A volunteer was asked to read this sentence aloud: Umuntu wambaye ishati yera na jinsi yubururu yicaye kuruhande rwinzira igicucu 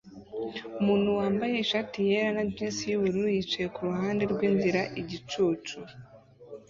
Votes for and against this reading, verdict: 2, 1, accepted